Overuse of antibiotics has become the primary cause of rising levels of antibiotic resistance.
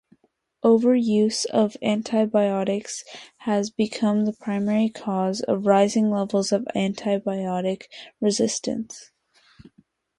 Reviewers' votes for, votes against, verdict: 2, 0, accepted